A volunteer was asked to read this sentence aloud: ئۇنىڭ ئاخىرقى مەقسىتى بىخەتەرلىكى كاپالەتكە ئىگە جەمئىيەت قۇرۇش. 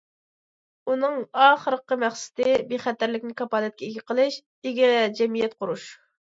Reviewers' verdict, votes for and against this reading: rejected, 0, 2